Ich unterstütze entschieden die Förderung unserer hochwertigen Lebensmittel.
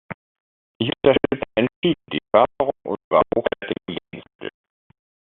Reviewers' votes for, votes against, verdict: 0, 2, rejected